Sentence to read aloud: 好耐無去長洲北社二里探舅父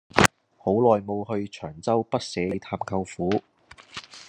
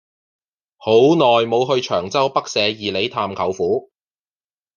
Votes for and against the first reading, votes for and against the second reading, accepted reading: 0, 2, 2, 0, second